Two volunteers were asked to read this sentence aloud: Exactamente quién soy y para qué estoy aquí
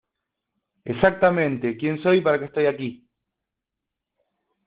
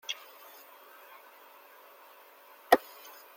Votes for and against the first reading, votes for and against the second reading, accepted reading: 2, 0, 0, 3, first